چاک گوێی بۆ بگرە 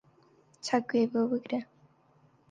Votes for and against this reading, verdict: 4, 0, accepted